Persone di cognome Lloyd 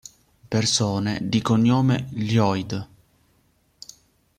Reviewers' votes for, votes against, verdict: 0, 2, rejected